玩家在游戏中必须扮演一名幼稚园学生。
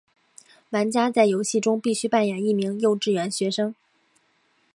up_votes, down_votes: 2, 0